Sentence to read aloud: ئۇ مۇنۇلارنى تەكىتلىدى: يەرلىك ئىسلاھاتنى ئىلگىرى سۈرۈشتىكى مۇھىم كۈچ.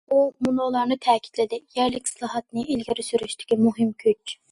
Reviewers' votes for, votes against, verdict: 2, 0, accepted